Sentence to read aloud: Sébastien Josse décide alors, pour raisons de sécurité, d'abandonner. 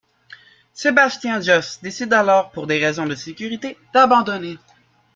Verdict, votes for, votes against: rejected, 0, 2